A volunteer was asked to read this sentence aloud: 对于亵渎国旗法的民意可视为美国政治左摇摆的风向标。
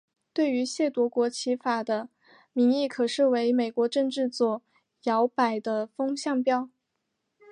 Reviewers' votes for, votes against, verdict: 3, 0, accepted